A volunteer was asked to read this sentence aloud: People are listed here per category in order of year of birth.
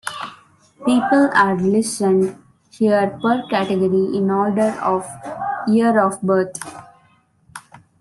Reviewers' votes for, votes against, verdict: 0, 2, rejected